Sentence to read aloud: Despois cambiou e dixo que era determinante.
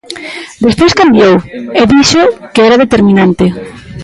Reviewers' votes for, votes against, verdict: 2, 1, accepted